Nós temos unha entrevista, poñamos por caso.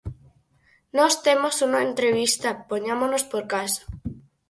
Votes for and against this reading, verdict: 0, 4, rejected